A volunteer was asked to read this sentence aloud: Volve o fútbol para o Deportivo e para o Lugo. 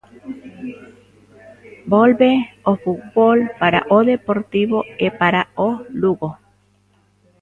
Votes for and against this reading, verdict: 0, 2, rejected